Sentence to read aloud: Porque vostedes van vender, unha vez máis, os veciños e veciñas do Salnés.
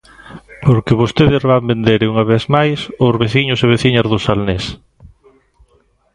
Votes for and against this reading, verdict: 2, 0, accepted